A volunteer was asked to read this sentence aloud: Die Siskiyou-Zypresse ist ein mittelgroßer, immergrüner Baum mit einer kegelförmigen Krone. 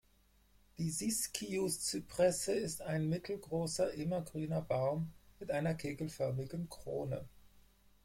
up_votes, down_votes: 2, 4